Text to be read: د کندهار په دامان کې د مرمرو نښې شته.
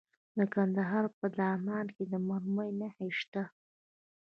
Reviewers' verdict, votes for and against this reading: accepted, 2, 1